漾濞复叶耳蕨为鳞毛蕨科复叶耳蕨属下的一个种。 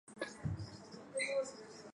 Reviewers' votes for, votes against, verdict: 2, 3, rejected